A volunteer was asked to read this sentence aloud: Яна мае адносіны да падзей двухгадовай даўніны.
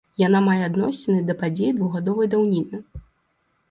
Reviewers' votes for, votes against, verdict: 1, 2, rejected